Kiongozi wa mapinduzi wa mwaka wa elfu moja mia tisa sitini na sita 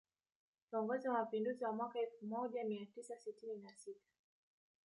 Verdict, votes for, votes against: rejected, 0, 2